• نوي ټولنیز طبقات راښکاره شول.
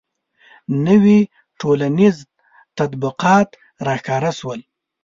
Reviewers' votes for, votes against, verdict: 1, 2, rejected